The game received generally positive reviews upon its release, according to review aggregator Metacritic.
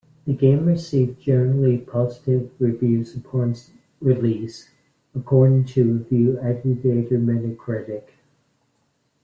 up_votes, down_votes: 0, 2